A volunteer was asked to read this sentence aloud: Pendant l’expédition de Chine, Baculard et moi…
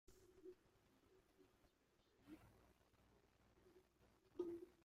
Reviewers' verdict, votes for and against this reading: rejected, 0, 2